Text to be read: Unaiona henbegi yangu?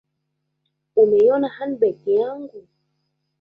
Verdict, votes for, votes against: accepted, 3, 1